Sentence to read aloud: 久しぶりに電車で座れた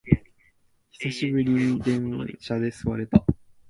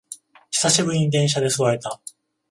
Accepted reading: second